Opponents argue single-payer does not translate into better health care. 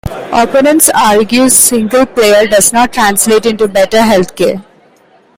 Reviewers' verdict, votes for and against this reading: accepted, 2, 0